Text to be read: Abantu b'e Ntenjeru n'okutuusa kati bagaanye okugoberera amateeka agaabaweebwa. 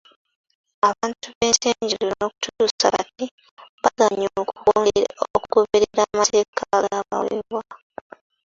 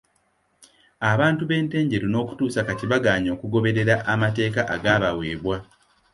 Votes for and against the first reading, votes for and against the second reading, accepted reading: 0, 2, 2, 0, second